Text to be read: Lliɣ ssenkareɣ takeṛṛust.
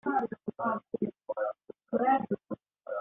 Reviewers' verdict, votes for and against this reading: rejected, 0, 2